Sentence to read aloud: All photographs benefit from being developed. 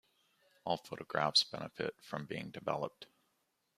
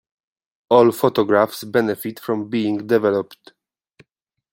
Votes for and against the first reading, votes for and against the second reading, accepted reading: 2, 1, 1, 2, first